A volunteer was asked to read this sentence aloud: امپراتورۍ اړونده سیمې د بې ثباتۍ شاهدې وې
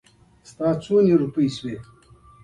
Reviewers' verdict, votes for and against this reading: rejected, 1, 2